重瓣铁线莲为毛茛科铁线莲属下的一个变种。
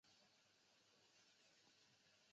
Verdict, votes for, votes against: rejected, 0, 2